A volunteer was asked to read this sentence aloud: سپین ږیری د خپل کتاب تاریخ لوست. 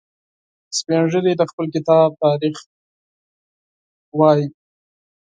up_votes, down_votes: 0, 4